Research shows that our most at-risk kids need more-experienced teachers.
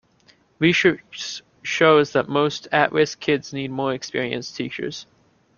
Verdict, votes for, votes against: rejected, 0, 2